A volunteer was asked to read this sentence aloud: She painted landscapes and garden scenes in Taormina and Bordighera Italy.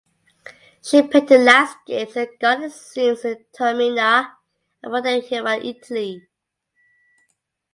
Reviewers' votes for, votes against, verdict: 2, 1, accepted